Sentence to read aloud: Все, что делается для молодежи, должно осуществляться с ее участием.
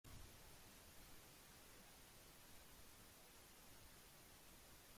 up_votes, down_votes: 0, 2